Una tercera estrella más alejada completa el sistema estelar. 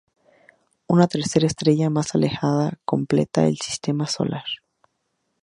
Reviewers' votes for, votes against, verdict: 0, 2, rejected